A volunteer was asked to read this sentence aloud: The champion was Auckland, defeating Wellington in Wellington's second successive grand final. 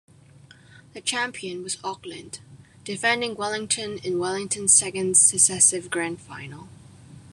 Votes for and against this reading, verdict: 0, 2, rejected